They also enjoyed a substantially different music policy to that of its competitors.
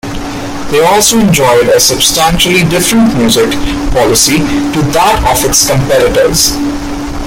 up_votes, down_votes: 0, 2